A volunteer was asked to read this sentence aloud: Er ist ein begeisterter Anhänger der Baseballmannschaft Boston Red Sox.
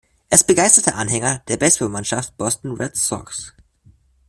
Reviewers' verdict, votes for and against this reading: rejected, 0, 2